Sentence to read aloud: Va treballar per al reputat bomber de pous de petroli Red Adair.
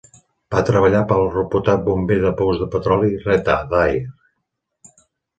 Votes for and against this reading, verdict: 2, 0, accepted